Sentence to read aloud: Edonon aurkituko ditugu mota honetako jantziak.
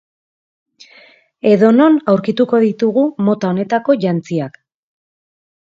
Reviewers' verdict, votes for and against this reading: accepted, 2, 0